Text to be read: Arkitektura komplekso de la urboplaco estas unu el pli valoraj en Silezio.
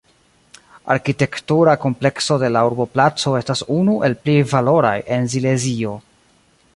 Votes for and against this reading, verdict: 1, 3, rejected